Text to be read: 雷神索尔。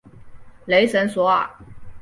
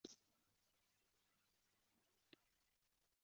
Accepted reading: first